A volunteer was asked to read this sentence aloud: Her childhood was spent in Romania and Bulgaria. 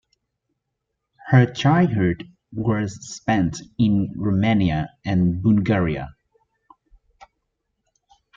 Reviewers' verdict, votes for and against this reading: accepted, 2, 0